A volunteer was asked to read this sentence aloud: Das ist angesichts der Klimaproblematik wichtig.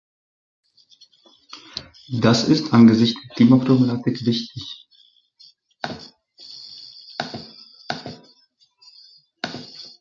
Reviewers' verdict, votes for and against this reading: rejected, 0, 2